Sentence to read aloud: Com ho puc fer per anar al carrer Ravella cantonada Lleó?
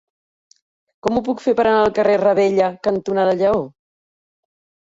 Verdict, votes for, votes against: accepted, 3, 1